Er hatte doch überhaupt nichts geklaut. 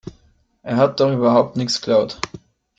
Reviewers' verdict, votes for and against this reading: rejected, 1, 2